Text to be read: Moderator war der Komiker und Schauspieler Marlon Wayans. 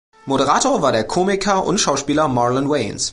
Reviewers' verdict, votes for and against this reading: accepted, 2, 0